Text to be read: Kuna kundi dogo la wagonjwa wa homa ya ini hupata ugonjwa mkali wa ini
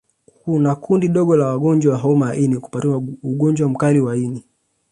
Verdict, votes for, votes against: accepted, 2, 1